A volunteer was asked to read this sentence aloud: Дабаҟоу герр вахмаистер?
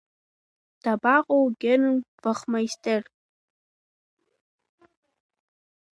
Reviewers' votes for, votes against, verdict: 1, 2, rejected